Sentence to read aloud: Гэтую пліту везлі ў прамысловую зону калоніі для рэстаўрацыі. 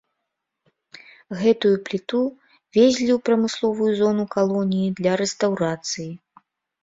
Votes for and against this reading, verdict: 2, 0, accepted